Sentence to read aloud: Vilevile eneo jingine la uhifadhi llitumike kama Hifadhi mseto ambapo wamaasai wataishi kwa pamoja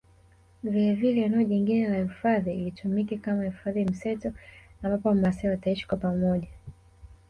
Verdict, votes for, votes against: rejected, 0, 2